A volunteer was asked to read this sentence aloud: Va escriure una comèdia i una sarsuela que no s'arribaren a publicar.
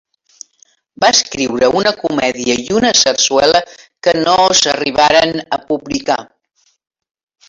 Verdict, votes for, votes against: accepted, 4, 0